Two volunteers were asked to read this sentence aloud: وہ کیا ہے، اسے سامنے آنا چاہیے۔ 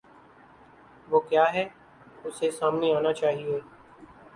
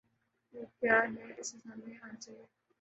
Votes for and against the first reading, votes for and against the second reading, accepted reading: 2, 0, 2, 2, first